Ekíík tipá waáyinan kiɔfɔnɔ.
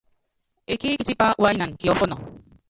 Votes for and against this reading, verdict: 0, 2, rejected